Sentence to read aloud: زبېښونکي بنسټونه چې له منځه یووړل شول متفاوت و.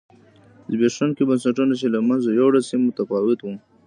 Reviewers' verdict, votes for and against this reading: rejected, 1, 2